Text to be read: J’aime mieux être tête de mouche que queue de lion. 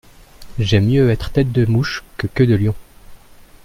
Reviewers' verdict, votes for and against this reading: accepted, 2, 0